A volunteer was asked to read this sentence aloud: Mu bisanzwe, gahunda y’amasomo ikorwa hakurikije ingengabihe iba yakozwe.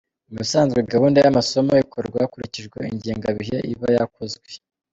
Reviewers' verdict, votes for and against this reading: accepted, 2, 0